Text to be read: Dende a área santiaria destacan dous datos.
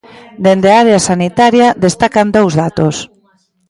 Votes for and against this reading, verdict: 0, 2, rejected